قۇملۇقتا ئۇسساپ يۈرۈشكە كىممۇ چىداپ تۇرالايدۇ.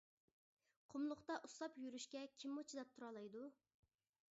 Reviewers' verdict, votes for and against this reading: accepted, 2, 0